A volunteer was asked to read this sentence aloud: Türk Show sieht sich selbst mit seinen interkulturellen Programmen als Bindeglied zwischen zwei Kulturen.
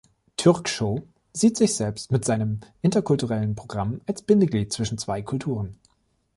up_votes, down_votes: 0, 2